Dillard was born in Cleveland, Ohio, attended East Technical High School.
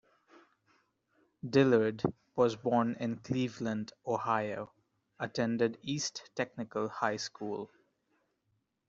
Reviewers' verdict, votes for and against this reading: accepted, 2, 0